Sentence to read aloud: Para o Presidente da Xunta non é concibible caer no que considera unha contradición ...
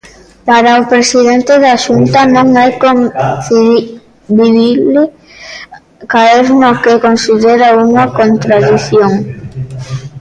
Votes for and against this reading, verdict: 0, 2, rejected